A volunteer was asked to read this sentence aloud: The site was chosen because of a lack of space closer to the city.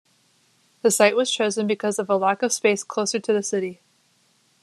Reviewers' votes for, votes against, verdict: 2, 0, accepted